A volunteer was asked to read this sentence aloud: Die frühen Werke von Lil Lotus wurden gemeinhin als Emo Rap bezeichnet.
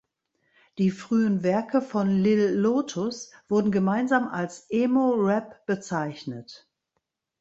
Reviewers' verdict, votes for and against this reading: rejected, 1, 3